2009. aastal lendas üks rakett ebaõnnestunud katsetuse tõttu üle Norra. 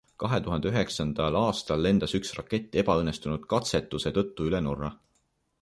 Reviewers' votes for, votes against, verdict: 0, 2, rejected